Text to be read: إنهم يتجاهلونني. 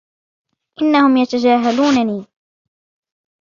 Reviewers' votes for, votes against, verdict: 2, 0, accepted